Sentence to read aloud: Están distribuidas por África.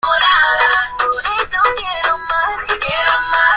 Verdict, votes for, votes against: rejected, 0, 2